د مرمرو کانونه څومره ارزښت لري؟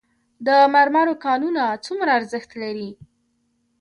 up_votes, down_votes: 0, 2